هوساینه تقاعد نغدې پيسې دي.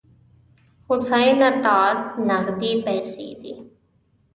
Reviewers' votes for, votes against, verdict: 1, 2, rejected